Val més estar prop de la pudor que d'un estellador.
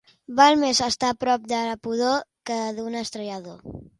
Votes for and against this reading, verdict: 1, 2, rejected